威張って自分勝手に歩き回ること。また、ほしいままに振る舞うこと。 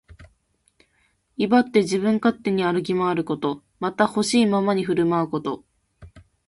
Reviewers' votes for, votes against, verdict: 2, 0, accepted